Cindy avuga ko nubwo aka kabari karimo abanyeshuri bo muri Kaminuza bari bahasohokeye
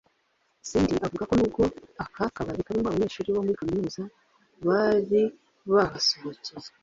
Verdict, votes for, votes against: rejected, 1, 2